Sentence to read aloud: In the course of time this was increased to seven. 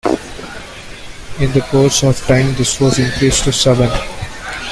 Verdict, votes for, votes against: rejected, 0, 2